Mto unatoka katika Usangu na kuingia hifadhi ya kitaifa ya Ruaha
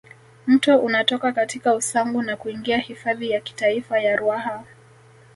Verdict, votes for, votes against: rejected, 1, 2